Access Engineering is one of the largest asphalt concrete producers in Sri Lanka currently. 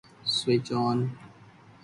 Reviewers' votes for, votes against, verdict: 0, 2, rejected